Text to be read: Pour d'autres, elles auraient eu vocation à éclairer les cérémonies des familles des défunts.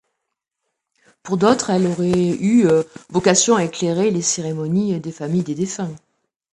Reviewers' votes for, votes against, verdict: 0, 2, rejected